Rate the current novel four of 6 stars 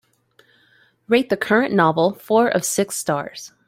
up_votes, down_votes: 0, 2